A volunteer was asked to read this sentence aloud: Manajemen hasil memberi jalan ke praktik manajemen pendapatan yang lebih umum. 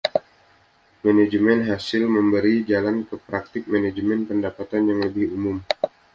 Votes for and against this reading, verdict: 2, 0, accepted